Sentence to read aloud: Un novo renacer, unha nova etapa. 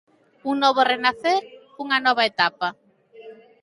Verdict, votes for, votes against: accepted, 2, 0